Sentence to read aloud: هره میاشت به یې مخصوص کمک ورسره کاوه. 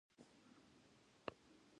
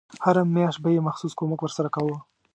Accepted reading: second